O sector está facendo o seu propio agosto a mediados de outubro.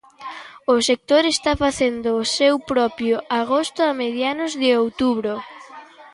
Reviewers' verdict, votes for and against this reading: accepted, 2, 1